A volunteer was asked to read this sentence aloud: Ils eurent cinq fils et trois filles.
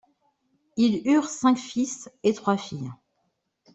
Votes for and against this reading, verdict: 1, 2, rejected